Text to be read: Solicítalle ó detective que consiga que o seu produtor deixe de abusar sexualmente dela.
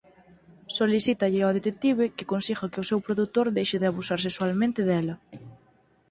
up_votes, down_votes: 4, 0